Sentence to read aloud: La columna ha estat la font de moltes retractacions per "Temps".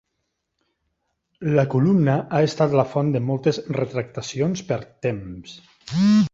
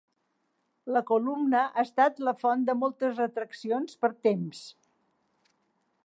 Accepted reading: first